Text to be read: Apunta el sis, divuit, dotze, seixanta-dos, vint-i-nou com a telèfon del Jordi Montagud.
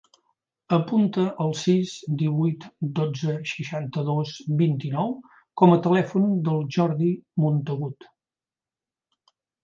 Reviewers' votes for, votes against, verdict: 2, 0, accepted